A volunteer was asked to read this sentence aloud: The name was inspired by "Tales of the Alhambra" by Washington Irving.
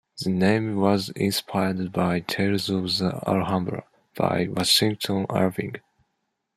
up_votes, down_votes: 2, 1